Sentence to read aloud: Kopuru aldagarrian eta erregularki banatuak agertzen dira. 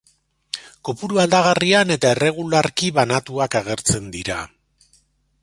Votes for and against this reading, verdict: 2, 0, accepted